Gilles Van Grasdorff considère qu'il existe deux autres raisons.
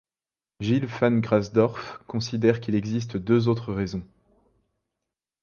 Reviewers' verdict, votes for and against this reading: accepted, 2, 0